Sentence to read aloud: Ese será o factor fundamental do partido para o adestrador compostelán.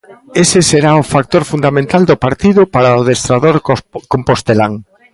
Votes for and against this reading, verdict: 0, 3, rejected